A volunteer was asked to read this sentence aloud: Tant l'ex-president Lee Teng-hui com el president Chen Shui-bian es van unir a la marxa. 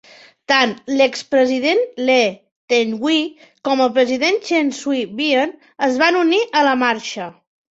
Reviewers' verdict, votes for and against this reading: accepted, 2, 0